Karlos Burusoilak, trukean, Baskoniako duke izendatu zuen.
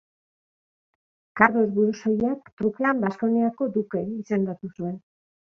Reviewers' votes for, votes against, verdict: 1, 2, rejected